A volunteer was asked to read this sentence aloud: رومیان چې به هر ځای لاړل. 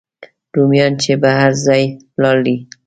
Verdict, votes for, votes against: rejected, 1, 2